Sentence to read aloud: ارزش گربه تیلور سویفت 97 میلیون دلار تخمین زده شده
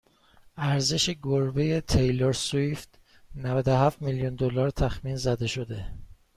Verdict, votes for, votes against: rejected, 0, 2